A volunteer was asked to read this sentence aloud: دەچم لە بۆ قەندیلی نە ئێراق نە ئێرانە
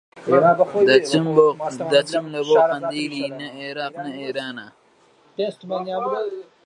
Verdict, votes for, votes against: rejected, 0, 2